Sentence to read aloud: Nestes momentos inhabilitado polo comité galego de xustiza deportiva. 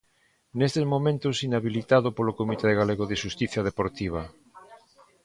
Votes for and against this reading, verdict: 2, 1, accepted